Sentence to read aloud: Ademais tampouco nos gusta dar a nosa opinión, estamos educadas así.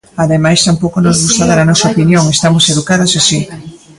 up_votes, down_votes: 2, 1